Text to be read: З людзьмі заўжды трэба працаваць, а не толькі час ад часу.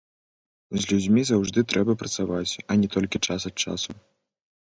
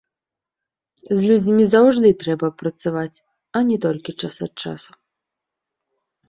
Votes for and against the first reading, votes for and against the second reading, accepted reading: 2, 3, 2, 0, second